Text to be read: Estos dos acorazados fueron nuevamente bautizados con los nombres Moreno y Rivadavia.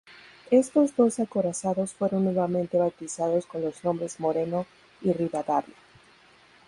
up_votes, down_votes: 2, 2